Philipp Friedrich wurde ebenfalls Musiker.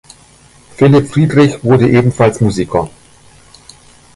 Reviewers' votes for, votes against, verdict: 2, 1, accepted